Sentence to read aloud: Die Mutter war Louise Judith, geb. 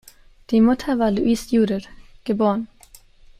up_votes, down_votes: 2, 1